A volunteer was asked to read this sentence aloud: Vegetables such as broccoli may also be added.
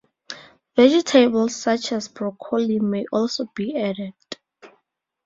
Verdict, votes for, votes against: rejected, 0, 2